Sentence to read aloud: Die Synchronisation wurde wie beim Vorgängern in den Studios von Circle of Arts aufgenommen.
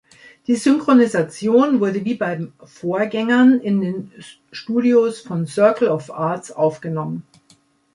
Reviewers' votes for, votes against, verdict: 0, 2, rejected